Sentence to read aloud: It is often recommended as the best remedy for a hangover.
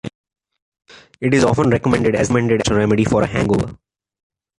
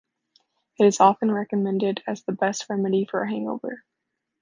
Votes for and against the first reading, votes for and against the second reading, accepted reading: 1, 2, 2, 0, second